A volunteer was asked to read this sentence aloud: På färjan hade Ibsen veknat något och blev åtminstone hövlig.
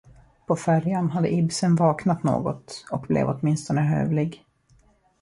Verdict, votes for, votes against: rejected, 1, 2